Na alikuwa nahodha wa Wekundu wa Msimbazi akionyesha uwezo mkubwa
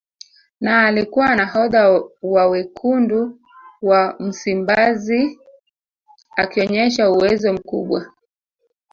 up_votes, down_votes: 1, 2